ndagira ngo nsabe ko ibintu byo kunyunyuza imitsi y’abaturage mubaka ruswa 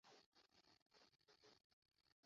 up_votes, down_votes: 0, 2